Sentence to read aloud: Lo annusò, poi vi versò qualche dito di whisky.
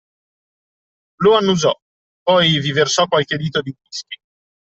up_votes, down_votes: 2, 0